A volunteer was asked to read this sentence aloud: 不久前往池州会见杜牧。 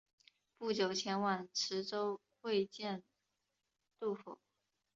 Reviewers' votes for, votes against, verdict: 2, 1, accepted